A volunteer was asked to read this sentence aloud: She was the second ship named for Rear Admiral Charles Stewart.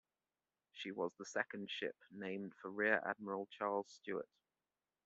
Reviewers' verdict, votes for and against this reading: accepted, 2, 1